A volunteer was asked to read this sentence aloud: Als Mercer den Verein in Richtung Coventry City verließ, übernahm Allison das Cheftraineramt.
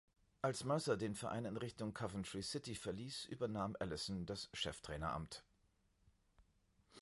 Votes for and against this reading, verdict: 2, 0, accepted